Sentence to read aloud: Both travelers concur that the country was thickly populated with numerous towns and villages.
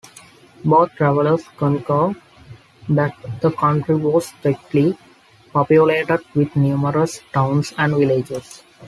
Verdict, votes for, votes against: accepted, 2, 1